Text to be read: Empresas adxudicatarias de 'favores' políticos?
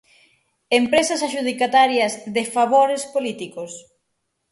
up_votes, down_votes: 6, 0